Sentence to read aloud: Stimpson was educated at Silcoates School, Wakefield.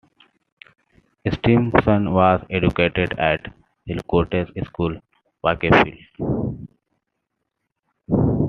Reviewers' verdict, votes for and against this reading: rejected, 0, 2